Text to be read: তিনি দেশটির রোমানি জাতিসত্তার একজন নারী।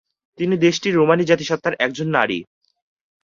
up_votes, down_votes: 2, 0